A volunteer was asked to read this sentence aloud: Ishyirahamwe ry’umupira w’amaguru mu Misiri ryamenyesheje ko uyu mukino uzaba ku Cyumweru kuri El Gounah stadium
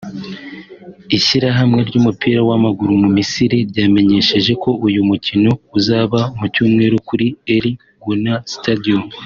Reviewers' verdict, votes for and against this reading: accepted, 2, 0